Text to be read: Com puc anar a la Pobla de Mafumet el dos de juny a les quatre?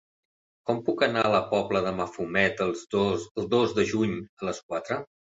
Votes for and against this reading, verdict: 0, 2, rejected